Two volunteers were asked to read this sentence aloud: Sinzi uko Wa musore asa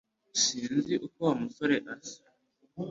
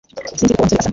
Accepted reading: first